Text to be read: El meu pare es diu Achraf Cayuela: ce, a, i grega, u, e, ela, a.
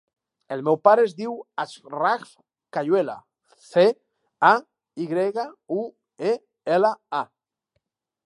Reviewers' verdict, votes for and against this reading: rejected, 0, 2